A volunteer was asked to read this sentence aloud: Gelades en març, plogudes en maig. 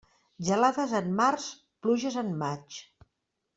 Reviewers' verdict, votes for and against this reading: rejected, 0, 2